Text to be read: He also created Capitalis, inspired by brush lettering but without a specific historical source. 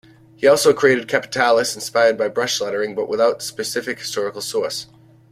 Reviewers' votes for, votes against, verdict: 1, 2, rejected